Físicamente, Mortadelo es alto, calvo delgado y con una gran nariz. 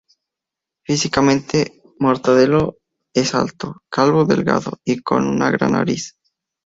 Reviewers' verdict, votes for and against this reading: accepted, 2, 0